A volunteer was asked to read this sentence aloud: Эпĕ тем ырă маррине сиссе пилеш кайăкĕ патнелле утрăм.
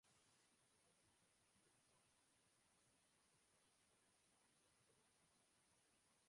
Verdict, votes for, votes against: rejected, 0, 2